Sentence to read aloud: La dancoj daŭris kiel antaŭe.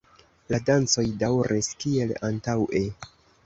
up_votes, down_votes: 2, 0